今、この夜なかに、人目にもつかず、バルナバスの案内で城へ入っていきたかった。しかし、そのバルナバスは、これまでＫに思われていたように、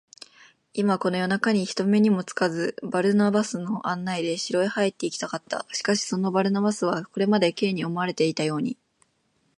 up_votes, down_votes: 3, 0